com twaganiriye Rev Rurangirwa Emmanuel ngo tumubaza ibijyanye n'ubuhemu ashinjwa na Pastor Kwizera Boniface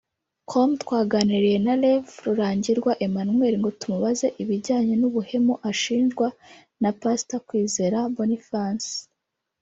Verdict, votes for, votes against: rejected, 1, 2